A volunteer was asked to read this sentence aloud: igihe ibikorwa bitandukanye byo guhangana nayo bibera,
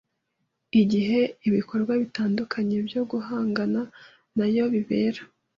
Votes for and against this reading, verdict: 2, 0, accepted